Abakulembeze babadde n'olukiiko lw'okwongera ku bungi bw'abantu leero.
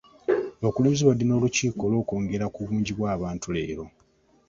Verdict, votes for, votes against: accepted, 2, 0